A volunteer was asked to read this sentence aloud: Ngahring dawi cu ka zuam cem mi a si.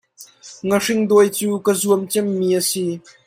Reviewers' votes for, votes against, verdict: 2, 1, accepted